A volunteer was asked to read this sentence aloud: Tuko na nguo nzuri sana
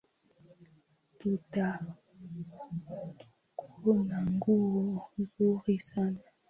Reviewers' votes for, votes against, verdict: 0, 2, rejected